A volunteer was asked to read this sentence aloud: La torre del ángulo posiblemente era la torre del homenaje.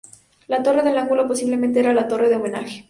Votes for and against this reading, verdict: 2, 2, rejected